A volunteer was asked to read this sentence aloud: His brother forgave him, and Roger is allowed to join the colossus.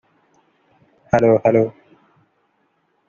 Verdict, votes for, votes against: rejected, 0, 2